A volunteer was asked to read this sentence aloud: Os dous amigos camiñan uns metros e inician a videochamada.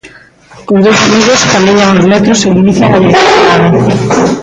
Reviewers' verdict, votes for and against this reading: rejected, 0, 3